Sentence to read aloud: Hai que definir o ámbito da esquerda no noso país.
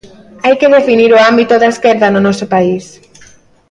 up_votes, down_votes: 1, 2